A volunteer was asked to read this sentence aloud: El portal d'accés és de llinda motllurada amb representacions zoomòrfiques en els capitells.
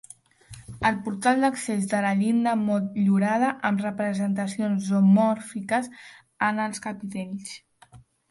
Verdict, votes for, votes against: rejected, 1, 2